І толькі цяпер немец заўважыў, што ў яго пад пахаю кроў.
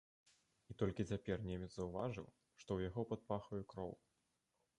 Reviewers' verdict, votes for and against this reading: rejected, 1, 2